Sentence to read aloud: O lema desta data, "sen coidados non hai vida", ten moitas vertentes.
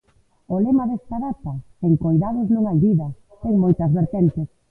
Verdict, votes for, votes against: accepted, 2, 0